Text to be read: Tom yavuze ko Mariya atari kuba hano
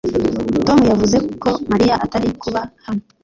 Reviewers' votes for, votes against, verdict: 1, 2, rejected